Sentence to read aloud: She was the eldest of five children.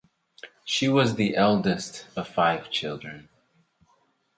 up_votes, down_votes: 4, 0